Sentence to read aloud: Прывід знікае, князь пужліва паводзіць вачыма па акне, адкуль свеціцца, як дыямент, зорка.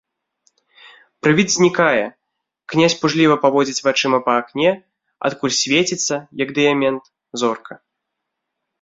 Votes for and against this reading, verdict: 2, 0, accepted